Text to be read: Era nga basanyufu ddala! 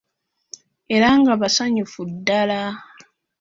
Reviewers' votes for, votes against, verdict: 2, 0, accepted